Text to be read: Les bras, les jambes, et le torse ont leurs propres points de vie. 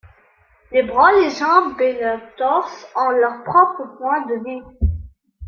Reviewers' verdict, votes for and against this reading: accepted, 3, 1